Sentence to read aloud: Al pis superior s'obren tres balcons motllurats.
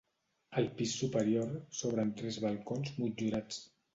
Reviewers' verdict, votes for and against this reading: accepted, 2, 0